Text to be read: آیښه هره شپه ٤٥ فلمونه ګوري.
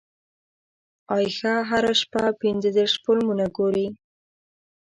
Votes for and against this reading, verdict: 0, 2, rejected